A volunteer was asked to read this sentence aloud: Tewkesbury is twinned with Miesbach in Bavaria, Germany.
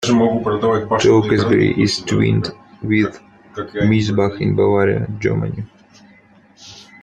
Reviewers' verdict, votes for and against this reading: rejected, 0, 2